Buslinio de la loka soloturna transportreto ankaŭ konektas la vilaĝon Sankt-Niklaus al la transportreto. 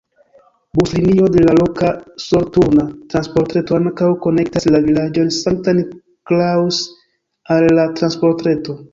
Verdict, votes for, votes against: accepted, 2, 1